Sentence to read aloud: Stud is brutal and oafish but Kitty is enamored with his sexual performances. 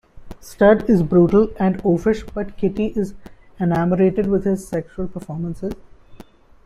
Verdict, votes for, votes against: rejected, 0, 2